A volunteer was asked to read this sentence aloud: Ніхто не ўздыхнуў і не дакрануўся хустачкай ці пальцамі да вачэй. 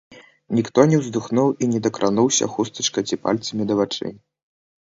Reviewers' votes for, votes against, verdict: 0, 2, rejected